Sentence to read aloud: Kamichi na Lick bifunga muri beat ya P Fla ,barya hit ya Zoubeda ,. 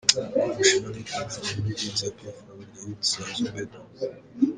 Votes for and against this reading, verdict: 0, 2, rejected